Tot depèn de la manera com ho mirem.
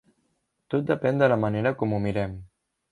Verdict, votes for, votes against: accepted, 3, 0